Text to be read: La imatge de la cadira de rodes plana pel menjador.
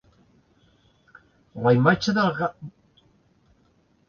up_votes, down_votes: 0, 2